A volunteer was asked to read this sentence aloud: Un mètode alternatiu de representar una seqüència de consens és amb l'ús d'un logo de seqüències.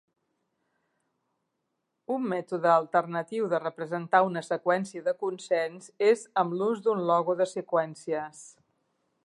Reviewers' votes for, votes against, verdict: 3, 0, accepted